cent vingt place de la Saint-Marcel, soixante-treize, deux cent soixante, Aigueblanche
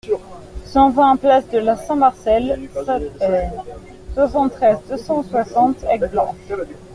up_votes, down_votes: 0, 2